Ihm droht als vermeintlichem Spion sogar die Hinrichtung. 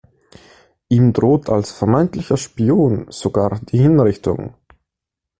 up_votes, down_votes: 0, 2